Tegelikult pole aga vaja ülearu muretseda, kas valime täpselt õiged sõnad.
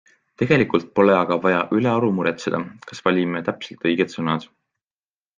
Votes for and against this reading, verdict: 2, 0, accepted